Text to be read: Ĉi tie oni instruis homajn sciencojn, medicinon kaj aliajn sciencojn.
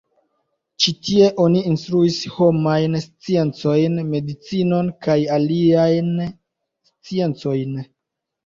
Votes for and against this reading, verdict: 2, 0, accepted